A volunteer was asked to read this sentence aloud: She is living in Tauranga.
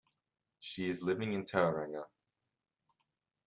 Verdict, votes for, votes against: accepted, 2, 0